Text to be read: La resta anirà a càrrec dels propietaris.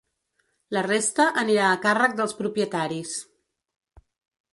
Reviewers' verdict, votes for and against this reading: accepted, 3, 0